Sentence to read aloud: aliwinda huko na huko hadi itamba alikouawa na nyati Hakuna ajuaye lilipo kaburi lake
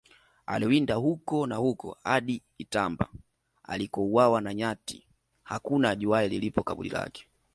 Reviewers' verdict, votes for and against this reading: accepted, 2, 1